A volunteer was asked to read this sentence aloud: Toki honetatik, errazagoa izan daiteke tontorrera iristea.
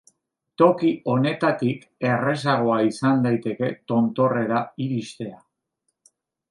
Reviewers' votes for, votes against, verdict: 0, 2, rejected